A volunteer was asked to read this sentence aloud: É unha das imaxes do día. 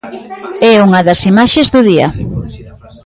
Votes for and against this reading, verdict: 2, 1, accepted